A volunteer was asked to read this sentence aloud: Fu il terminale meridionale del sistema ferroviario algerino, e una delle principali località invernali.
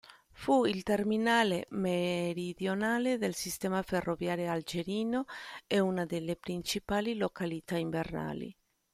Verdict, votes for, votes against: rejected, 0, 2